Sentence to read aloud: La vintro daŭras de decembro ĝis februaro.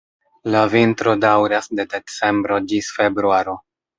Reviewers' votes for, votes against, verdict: 3, 0, accepted